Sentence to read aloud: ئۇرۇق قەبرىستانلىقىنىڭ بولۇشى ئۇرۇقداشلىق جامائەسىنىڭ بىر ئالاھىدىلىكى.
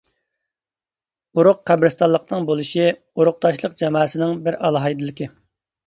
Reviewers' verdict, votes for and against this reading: rejected, 0, 2